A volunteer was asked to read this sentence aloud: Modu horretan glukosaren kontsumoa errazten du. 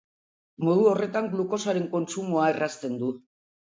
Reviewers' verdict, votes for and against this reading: accepted, 4, 0